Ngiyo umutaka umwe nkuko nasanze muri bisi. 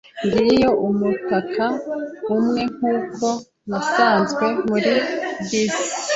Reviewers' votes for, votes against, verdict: 0, 2, rejected